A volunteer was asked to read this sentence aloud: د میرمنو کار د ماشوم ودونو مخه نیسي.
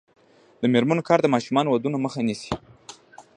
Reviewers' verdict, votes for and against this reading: rejected, 0, 2